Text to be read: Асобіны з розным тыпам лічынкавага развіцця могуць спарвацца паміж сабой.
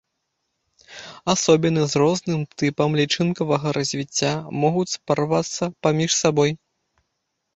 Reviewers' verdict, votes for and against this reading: rejected, 0, 2